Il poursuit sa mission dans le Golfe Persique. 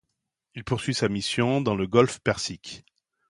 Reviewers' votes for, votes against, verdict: 2, 0, accepted